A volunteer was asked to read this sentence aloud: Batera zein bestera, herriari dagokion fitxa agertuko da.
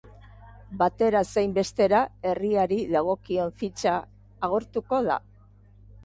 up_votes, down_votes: 1, 2